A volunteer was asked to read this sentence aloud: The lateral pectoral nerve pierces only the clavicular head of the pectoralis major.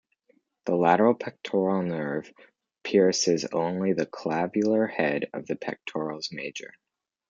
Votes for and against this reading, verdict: 0, 2, rejected